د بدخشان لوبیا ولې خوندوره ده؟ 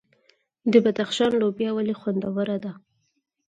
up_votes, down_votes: 4, 0